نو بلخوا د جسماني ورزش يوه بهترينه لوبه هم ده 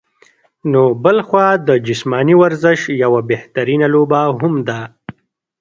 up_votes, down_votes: 1, 2